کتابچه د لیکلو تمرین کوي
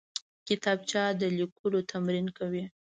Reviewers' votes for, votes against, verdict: 1, 2, rejected